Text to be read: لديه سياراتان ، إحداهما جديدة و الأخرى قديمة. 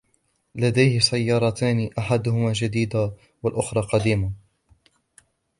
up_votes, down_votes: 1, 2